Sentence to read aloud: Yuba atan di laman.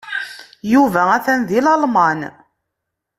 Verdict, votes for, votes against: rejected, 0, 2